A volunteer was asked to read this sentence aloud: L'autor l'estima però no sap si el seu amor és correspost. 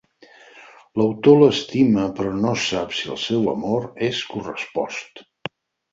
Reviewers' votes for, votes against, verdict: 4, 0, accepted